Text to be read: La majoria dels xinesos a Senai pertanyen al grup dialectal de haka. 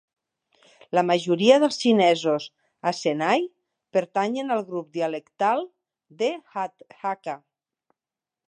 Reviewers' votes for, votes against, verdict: 0, 2, rejected